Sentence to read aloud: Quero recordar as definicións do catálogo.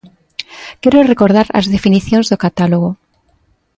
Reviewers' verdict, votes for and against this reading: accepted, 2, 0